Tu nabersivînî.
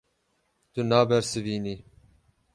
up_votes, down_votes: 12, 0